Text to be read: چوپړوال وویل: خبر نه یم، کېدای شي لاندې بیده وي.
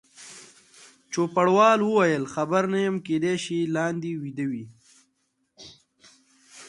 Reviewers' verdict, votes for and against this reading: accepted, 2, 0